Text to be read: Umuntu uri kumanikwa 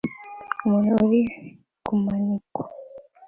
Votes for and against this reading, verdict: 2, 1, accepted